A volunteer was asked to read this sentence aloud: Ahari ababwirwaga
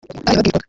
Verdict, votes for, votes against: rejected, 0, 2